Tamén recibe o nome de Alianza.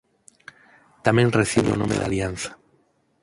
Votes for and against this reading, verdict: 0, 4, rejected